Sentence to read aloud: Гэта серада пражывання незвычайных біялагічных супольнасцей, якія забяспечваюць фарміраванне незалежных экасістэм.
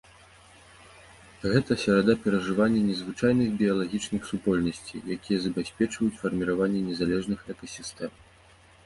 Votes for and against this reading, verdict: 0, 2, rejected